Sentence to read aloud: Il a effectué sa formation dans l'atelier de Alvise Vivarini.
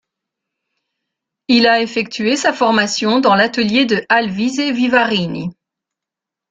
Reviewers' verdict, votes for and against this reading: accepted, 2, 0